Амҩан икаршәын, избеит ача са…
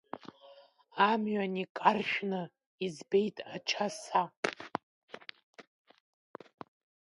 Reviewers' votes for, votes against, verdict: 0, 2, rejected